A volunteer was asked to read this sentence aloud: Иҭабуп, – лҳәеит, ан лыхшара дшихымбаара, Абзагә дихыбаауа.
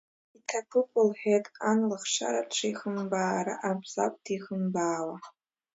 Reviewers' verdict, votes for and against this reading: rejected, 1, 2